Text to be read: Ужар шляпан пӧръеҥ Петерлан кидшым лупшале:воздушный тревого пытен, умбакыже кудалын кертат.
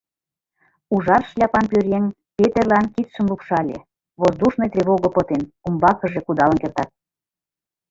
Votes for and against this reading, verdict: 2, 4, rejected